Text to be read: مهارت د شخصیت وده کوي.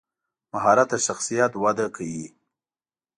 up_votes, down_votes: 2, 0